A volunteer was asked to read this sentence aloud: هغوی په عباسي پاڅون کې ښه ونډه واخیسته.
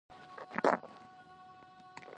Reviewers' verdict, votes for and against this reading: rejected, 0, 2